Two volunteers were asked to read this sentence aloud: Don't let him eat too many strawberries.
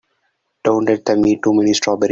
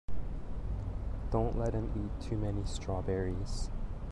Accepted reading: second